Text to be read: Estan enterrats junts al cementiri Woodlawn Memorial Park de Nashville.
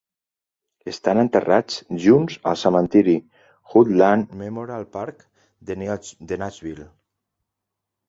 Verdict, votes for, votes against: rejected, 0, 2